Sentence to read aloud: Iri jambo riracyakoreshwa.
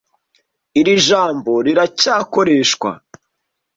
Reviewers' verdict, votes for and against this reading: accepted, 2, 0